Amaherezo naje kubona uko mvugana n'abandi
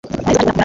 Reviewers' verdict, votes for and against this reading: rejected, 2, 3